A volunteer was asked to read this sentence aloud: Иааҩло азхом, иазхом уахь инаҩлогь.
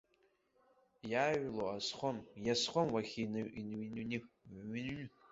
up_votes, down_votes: 1, 2